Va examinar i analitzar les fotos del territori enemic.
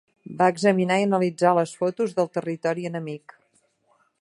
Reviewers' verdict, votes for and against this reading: accepted, 3, 0